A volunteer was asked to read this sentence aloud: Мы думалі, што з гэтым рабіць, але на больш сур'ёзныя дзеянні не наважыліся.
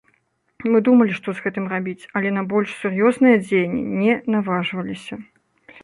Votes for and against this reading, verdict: 1, 2, rejected